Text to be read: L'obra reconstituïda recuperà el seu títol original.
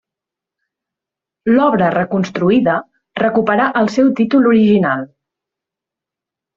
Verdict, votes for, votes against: rejected, 0, 2